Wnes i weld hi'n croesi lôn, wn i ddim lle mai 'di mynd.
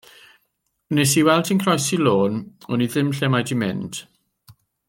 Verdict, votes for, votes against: accepted, 2, 0